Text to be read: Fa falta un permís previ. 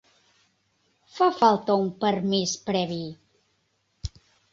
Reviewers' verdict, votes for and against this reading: accepted, 3, 0